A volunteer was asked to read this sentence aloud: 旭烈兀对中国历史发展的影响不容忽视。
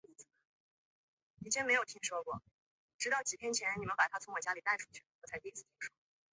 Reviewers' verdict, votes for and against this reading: rejected, 0, 3